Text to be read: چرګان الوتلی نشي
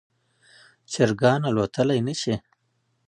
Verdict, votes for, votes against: accepted, 2, 0